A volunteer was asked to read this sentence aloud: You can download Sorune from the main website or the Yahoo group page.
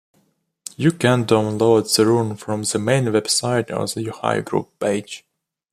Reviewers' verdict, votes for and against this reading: rejected, 0, 2